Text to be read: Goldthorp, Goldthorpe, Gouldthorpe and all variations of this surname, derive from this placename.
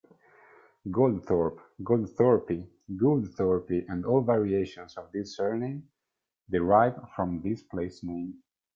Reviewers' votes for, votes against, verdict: 2, 1, accepted